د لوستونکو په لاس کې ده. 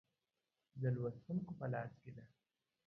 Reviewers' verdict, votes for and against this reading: rejected, 1, 2